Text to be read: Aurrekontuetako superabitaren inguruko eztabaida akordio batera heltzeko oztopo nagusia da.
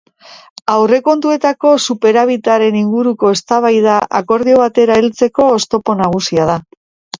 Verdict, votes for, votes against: accepted, 2, 0